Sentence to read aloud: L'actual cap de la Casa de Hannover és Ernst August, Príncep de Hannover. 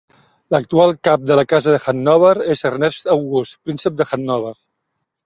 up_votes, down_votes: 1, 2